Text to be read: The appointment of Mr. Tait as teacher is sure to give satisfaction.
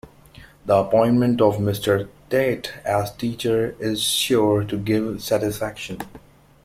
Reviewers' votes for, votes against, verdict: 2, 0, accepted